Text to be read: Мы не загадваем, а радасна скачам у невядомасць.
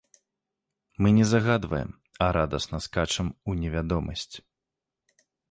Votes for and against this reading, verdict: 2, 0, accepted